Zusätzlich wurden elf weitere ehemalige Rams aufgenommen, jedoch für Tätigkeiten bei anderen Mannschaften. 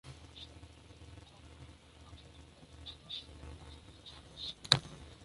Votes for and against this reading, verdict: 0, 3, rejected